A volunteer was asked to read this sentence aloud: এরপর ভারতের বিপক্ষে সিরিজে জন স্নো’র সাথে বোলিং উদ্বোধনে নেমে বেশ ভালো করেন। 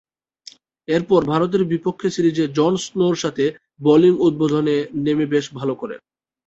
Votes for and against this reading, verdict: 2, 0, accepted